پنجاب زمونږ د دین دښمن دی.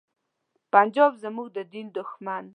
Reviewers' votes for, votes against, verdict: 1, 2, rejected